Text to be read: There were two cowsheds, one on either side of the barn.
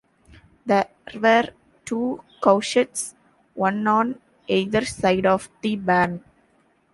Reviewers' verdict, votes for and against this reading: accepted, 3, 0